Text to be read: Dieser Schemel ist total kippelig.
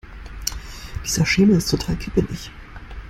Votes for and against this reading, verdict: 1, 2, rejected